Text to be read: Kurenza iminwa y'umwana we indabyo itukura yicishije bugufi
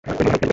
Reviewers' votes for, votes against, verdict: 0, 2, rejected